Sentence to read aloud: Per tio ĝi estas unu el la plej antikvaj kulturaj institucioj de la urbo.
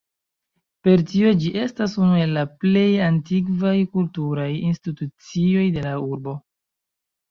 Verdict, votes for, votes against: rejected, 0, 2